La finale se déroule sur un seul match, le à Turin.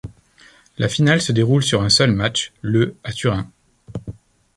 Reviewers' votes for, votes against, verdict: 2, 0, accepted